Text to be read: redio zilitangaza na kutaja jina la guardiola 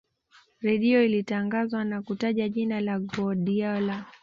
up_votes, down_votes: 2, 0